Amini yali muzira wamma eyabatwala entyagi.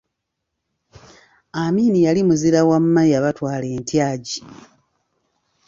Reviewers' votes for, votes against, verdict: 2, 0, accepted